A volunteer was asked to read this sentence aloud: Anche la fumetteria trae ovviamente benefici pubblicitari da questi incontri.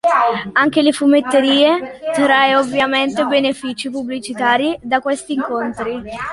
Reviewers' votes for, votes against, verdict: 0, 2, rejected